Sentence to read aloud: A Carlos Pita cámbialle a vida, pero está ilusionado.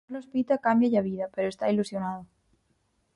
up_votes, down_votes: 2, 4